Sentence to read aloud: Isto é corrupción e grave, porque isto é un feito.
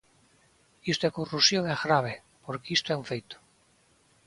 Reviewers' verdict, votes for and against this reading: accepted, 3, 0